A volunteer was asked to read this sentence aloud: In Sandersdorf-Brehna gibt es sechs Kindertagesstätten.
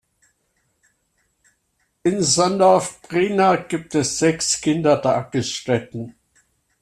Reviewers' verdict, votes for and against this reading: rejected, 0, 2